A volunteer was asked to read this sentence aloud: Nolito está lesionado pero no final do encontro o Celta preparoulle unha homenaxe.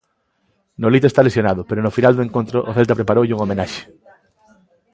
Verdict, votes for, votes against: accepted, 2, 0